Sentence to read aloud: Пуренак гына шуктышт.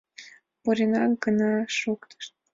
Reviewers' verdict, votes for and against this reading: accepted, 2, 0